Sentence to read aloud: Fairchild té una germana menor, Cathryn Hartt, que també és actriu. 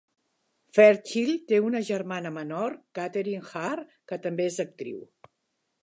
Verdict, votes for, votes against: accepted, 2, 0